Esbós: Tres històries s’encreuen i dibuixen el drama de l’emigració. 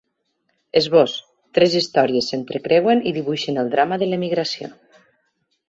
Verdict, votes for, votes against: rejected, 1, 2